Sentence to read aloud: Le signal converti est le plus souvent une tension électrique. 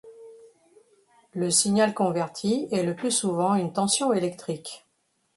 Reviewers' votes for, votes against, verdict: 2, 0, accepted